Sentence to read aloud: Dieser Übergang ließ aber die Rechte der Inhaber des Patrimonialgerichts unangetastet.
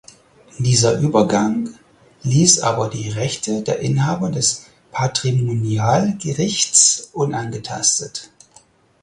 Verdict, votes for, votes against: accepted, 4, 0